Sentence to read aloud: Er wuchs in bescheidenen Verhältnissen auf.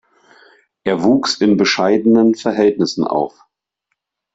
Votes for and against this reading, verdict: 2, 0, accepted